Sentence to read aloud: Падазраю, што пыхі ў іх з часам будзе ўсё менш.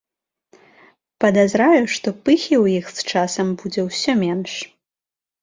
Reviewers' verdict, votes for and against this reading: rejected, 0, 2